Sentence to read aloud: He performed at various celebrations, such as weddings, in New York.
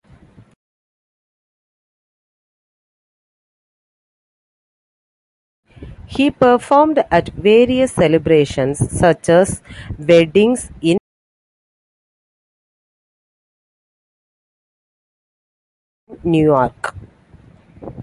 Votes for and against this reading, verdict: 0, 2, rejected